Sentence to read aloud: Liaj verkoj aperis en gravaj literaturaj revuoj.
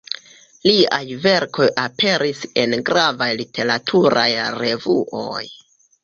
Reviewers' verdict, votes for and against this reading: rejected, 1, 2